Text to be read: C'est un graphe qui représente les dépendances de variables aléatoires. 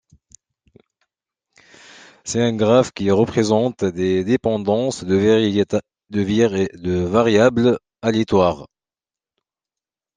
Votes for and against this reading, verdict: 0, 2, rejected